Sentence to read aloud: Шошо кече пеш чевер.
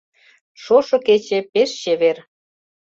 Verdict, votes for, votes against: accepted, 2, 0